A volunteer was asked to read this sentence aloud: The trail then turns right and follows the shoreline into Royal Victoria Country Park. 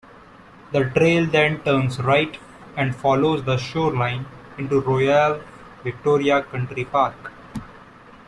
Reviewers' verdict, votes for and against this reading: rejected, 1, 2